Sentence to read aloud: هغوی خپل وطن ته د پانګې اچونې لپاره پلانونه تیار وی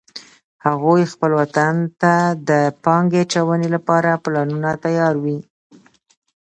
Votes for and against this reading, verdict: 2, 1, accepted